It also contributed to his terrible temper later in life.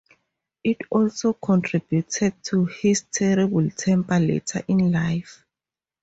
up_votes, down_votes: 2, 0